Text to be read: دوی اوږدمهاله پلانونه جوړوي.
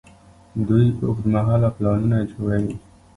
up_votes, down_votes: 2, 0